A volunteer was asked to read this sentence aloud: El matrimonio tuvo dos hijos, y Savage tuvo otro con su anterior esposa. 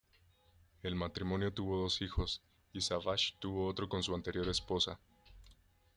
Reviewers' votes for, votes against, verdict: 2, 1, accepted